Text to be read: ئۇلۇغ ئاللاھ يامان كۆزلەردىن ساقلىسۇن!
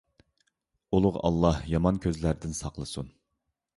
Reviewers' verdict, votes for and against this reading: accepted, 2, 0